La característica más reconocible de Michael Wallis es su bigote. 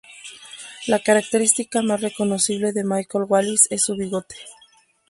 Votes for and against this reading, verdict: 0, 2, rejected